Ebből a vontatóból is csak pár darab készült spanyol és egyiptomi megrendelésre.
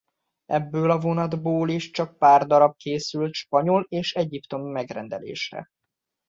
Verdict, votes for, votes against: rejected, 1, 2